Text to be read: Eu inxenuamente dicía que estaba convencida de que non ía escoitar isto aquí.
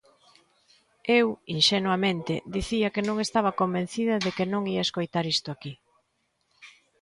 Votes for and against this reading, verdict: 0, 2, rejected